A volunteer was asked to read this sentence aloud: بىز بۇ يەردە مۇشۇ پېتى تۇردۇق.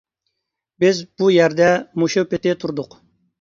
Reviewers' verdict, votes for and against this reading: accepted, 2, 0